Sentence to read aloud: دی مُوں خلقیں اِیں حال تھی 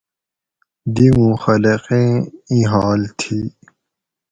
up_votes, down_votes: 4, 0